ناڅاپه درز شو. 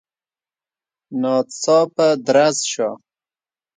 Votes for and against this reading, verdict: 2, 0, accepted